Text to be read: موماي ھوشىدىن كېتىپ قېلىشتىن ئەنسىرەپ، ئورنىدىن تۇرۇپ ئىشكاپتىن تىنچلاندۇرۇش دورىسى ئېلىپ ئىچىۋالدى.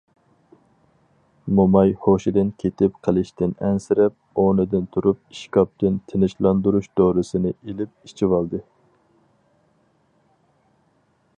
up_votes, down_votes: 2, 2